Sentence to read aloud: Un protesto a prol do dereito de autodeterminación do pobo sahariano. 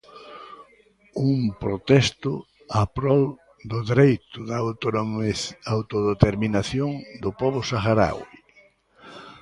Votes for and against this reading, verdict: 0, 2, rejected